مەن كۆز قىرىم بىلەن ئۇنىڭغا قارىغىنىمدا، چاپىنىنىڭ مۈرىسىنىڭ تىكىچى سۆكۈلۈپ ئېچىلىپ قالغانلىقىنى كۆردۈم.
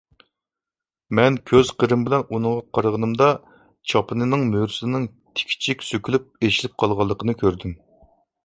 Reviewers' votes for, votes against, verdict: 2, 0, accepted